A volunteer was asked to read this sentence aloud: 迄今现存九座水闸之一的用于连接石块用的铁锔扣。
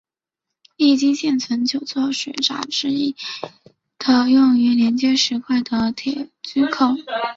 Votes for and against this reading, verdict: 0, 3, rejected